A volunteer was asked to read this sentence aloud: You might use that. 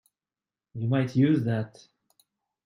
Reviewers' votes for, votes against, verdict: 2, 0, accepted